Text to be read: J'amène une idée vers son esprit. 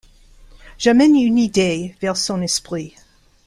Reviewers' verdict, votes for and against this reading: accepted, 2, 0